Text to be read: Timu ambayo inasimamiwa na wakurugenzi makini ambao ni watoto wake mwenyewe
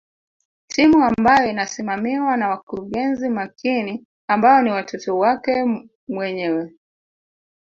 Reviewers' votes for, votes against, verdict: 1, 2, rejected